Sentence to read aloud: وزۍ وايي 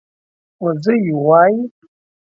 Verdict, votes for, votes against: accepted, 2, 0